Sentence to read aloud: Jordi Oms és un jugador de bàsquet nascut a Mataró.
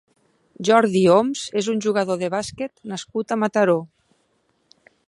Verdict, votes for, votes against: accepted, 2, 0